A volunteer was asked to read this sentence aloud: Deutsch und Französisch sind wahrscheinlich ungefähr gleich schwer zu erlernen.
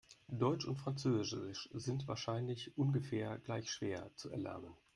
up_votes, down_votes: 1, 2